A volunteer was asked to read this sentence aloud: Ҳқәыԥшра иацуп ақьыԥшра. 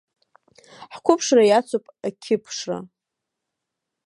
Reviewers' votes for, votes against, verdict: 2, 1, accepted